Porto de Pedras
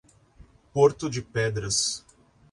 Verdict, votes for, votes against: accepted, 2, 0